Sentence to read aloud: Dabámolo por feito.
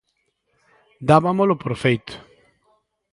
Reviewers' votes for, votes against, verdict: 0, 2, rejected